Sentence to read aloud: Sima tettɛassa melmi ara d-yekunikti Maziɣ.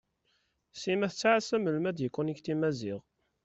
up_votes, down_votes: 2, 0